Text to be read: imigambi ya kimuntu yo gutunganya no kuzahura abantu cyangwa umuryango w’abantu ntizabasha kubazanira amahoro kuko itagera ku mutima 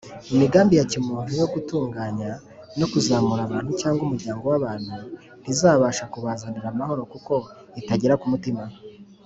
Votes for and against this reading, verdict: 2, 0, accepted